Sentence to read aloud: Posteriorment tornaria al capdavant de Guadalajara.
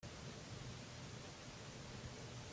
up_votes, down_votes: 1, 2